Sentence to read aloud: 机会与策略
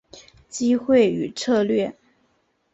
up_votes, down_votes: 2, 0